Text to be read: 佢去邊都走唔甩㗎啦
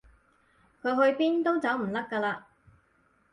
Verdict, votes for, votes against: accepted, 4, 0